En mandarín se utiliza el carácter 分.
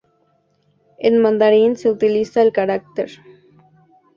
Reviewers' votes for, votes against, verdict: 2, 0, accepted